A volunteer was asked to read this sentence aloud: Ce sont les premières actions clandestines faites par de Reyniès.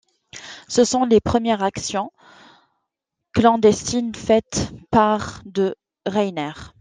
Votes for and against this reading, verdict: 0, 2, rejected